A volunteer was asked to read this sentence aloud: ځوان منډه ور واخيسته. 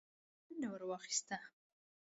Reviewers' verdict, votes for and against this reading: rejected, 1, 2